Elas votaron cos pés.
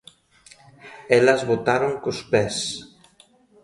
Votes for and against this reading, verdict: 2, 0, accepted